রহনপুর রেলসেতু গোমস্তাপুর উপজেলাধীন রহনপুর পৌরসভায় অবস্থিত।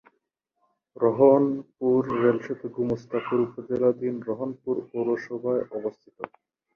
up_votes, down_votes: 2, 2